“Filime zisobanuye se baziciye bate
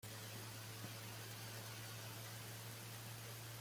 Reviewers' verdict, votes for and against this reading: rejected, 0, 3